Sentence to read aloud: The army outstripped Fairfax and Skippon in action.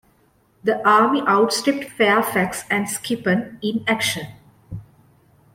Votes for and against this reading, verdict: 2, 0, accepted